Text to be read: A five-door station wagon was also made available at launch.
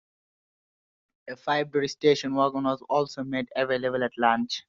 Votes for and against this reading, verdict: 2, 1, accepted